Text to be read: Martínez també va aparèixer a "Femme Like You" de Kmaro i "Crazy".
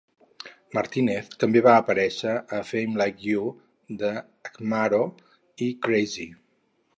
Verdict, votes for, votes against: rejected, 2, 4